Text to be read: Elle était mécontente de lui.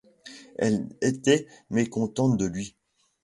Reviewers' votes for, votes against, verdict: 2, 0, accepted